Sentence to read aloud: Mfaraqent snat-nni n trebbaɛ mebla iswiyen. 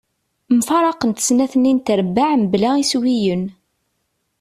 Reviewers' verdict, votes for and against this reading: accepted, 2, 0